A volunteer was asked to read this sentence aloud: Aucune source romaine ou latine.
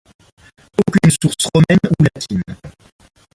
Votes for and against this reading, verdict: 1, 2, rejected